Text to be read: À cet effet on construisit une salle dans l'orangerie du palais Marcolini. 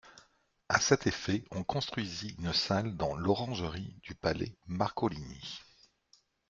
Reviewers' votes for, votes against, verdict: 2, 0, accepted